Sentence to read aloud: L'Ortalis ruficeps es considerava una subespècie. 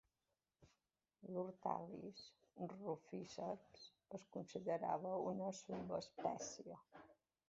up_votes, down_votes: 0, 2